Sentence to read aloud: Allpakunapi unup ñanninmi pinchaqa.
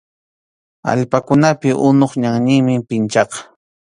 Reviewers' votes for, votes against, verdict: 2, 0, accepted